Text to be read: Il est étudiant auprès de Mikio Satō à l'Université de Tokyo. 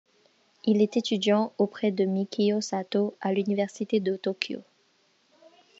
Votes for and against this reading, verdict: 2, 0, accepted